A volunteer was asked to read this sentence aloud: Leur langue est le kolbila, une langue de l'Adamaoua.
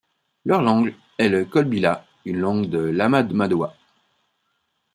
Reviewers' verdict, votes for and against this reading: rejected, 0, 2